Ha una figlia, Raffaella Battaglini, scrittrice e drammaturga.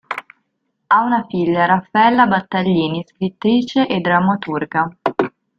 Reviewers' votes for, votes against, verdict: 0, 2, rejected